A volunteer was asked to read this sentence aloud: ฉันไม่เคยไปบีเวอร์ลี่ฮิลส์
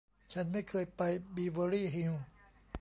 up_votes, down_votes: 2, 0